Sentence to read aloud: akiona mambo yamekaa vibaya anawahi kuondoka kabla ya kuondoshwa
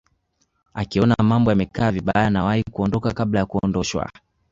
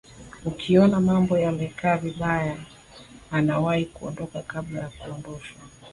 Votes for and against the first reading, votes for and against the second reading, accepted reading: 2, 0, 1, 2, first